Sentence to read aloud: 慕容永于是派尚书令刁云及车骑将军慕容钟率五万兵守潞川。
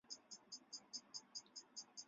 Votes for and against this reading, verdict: 1, 2, rejected